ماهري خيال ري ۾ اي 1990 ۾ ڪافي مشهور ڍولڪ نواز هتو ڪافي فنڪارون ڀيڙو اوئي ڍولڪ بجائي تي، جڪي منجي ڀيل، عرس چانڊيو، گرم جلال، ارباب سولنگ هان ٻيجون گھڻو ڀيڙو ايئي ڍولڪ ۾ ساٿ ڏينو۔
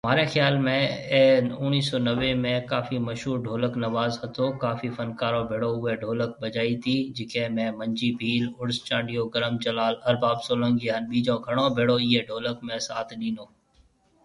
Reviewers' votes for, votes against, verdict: 0, 2, rejected